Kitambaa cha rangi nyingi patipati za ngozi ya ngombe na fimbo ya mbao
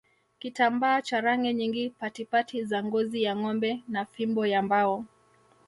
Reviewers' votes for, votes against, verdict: 1, 2, rejected